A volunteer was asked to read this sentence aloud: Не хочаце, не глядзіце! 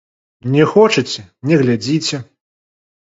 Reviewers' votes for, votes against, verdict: 1, 2, rejected